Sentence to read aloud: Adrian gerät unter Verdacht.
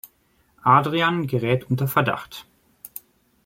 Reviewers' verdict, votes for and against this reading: accepted, 2, 0